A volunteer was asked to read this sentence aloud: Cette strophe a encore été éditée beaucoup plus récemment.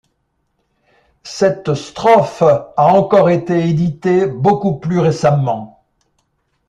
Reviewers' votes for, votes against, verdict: 2, 0, accepted